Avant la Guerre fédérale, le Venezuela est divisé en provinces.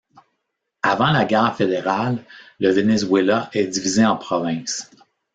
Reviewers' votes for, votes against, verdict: 2, 0, accepted